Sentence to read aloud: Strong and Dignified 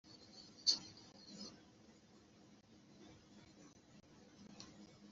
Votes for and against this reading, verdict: 0, 2, rejected